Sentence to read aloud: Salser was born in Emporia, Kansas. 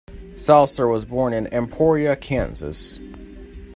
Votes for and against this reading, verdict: 2, 0, accepted